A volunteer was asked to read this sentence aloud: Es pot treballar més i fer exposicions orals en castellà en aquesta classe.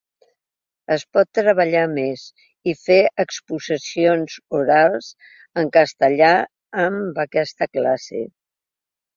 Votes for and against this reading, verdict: 0, 2, rejected